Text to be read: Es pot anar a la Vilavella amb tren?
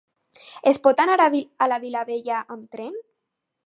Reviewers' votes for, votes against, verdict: 0, 4, rejected